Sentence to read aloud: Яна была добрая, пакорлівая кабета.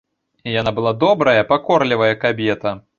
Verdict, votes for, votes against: accepted, 2, 0